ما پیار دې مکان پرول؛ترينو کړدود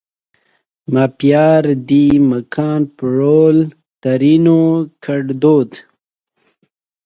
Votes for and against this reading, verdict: 2, 0, accepted